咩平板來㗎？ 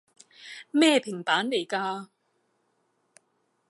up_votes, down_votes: 2, 2